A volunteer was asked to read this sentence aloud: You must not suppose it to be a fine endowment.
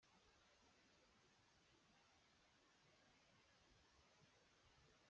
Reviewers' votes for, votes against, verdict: 0, 2, rejected